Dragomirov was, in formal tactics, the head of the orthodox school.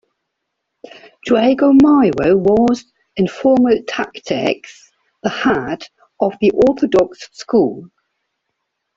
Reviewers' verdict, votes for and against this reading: rejected, 0, 2